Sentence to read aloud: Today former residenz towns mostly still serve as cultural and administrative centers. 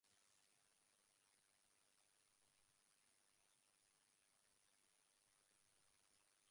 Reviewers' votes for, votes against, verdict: 0, 2, rejected